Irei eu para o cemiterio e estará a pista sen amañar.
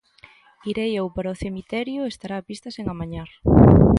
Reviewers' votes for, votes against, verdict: 2, 0, accepted